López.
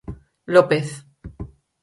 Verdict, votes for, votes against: accepted, 4, 0